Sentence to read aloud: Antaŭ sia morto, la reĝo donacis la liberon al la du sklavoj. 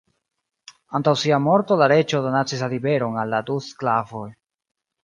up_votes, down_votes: 2, 0